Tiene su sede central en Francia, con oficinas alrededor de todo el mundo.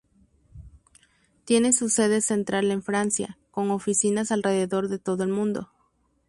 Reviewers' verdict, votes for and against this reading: rejected, 0, 2